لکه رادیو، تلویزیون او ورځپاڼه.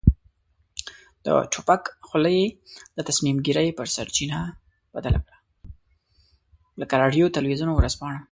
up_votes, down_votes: 0, 2